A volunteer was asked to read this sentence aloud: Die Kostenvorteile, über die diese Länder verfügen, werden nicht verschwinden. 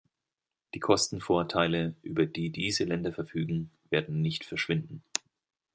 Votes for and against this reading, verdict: 2, 0, accepted